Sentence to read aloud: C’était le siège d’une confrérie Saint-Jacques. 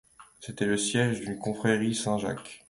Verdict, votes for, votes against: accepted, 2, 0